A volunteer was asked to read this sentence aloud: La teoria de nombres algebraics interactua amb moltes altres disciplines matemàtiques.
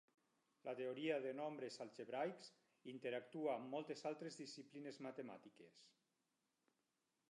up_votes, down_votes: 4, 2